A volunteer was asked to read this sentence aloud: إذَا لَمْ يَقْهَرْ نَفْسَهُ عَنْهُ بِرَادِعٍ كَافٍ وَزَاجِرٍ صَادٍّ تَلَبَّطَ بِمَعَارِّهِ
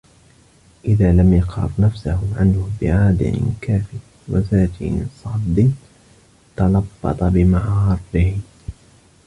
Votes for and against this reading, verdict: 1, 2, rejected